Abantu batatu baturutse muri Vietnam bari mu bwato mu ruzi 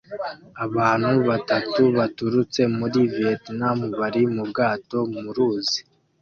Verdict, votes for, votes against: accepted, 2, 0